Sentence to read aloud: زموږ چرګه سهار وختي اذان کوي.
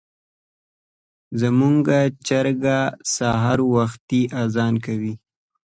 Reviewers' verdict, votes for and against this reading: accepted, 2, 0